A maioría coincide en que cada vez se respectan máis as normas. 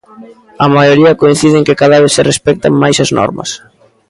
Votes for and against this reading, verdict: 2, 1, accepted